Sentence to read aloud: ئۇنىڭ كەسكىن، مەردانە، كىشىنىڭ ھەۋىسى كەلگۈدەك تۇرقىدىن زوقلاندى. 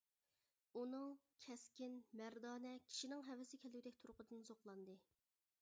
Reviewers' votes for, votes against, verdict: 0, 2, rejected